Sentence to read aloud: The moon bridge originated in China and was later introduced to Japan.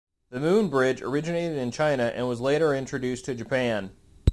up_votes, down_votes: 2, 1